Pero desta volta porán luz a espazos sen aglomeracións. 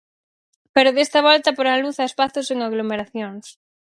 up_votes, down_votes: 4, 0